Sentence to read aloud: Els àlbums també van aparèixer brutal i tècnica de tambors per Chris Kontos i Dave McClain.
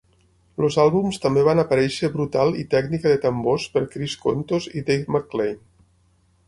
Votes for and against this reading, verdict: 6, 9, rejected